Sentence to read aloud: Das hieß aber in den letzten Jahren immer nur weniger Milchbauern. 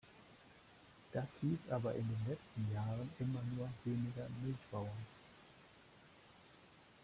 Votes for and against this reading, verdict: 2, 0, accepted